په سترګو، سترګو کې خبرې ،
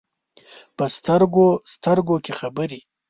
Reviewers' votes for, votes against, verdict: 2, 0, accepted